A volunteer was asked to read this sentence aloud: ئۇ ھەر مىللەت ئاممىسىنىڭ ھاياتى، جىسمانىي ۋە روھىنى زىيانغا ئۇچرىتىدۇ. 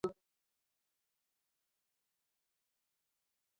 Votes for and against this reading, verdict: 0, 2, rejected